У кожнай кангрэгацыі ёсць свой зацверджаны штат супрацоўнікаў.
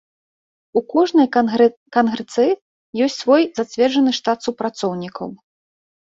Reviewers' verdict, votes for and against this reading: rejected, 0, 2